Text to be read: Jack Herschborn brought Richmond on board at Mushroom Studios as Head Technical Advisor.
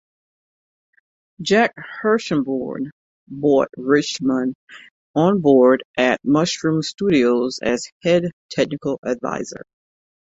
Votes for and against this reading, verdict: 1, 2, rejected